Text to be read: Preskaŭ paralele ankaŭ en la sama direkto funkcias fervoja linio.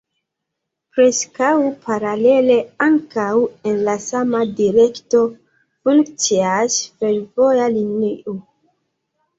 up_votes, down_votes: 1, 2